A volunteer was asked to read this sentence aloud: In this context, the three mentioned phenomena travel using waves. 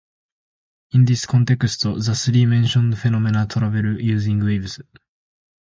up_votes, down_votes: 2, 0